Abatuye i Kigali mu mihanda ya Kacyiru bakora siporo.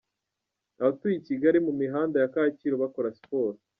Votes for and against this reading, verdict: 1, 2, rejected